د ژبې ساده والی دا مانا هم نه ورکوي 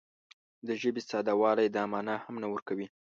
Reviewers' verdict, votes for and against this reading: accepted, 2, 0